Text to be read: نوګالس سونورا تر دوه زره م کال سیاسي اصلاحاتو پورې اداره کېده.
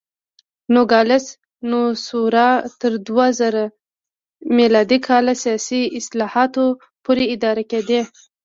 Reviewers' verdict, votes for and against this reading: rejected, 0, 2